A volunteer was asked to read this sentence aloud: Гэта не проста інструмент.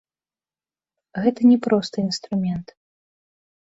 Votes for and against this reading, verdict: 1, 2, rejected